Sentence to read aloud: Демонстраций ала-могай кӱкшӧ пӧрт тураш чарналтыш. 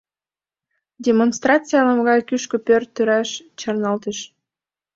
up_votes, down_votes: 1, 2